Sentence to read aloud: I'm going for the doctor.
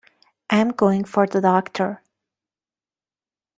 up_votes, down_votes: 2, 0